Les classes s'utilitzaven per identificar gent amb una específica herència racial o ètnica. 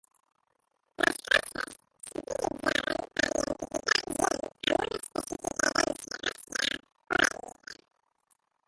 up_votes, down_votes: 0, 2